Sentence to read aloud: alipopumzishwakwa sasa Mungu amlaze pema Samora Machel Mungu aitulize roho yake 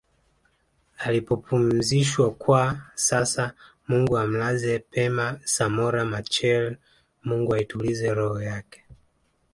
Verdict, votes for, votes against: accepted, 2, 0